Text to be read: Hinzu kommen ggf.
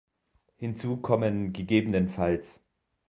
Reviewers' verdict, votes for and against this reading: rejected, 0, 2